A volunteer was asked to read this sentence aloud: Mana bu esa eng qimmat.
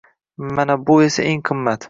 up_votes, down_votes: 2, 0